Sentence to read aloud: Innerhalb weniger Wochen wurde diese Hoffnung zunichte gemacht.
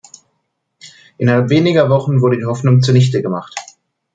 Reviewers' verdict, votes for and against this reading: rejected, 0, 2